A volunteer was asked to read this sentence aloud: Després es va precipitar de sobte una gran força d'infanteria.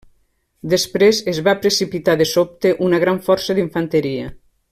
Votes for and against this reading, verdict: 3, 0, accepted